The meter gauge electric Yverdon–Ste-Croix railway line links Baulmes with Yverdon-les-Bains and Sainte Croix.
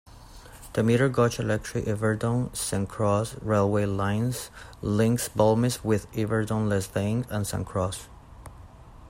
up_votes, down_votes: 1, 2